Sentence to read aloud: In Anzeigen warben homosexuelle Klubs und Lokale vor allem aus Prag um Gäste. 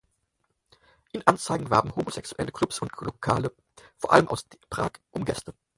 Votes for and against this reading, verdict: 4, 0, accepted